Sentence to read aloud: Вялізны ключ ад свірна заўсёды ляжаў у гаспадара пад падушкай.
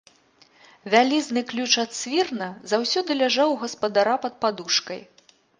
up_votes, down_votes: 3, 1